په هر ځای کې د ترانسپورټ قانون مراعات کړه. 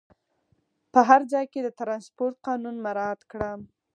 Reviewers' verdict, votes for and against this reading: rejected, 2, 4